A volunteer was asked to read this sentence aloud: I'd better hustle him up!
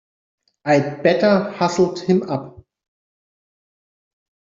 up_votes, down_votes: 1, 2